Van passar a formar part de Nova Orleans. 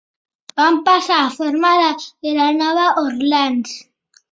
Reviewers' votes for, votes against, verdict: 0, 2, rejected